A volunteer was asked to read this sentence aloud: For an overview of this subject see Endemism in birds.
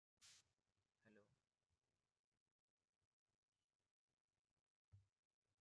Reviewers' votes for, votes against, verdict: 0, 2, rejected